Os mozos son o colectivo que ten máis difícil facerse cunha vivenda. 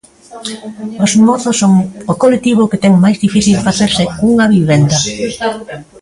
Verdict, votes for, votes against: rejected, 1, 2